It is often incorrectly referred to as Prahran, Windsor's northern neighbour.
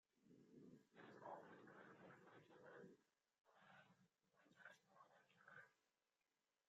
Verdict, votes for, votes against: rejected, 0, 2